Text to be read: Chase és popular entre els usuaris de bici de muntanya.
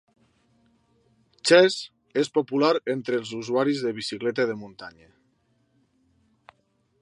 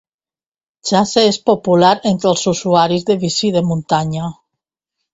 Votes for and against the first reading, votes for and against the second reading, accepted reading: 1, 2, 2, 1, second